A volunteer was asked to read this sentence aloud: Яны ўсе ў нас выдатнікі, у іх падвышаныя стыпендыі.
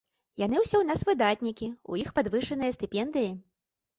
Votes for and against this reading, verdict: 2, 0, accepted